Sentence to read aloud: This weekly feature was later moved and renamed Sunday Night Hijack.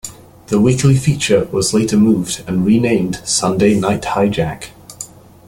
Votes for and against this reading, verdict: 0, 2, rejected